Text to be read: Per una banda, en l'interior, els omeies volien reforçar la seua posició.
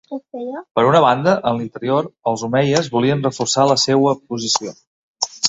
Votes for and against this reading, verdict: 2, 0, accepted